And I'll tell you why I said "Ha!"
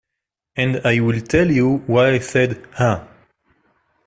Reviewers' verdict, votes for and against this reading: rejected, 1, 2